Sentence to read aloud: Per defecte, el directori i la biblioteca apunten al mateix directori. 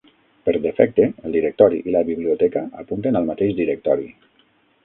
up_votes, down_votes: 6, 0